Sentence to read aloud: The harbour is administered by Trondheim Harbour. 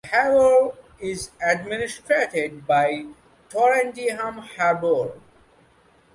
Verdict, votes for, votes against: rejected, 0, 2